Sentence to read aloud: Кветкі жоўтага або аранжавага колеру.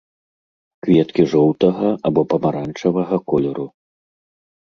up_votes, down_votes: 1, 3